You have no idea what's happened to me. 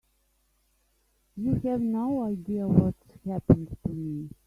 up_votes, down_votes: 2, 3